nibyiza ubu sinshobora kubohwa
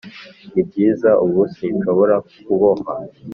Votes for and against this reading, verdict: 2, 0, accepted